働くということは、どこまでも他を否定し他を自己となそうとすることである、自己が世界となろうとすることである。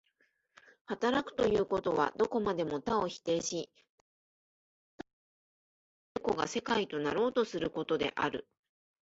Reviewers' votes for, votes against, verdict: 6, 11, rejected